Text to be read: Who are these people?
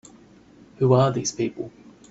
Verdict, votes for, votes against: accepted, 2, 0